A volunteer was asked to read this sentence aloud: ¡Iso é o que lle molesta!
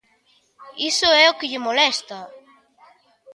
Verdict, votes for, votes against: accepted, 3, 0